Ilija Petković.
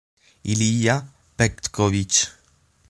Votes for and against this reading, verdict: 6, 0, accepted